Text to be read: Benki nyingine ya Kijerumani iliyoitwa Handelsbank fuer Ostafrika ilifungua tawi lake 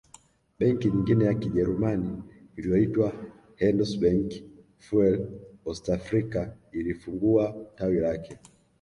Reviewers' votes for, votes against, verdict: 2, 1, accepted